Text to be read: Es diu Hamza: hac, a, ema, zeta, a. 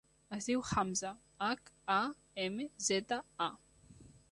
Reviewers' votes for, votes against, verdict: 2, 0, accepted